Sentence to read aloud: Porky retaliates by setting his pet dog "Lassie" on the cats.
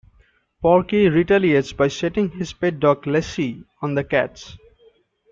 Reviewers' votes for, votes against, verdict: 2, 3, rejected